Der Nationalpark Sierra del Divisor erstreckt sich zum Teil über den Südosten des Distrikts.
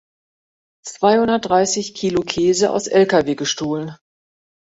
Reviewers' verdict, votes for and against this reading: rejected, 0, 2